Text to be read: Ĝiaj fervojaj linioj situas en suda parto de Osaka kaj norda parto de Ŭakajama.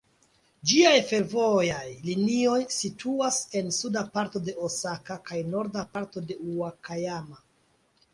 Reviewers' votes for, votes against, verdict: 2, 0, accepted